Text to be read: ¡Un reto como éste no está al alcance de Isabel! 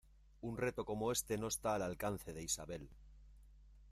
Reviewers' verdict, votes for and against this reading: accepted, 2, 0